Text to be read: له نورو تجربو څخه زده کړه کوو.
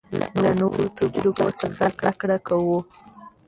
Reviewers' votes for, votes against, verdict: 0, 2, rejected